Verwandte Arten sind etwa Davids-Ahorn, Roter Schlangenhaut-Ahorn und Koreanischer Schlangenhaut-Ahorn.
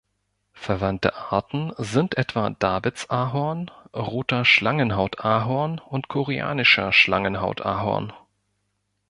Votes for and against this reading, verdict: 2, 0, accepted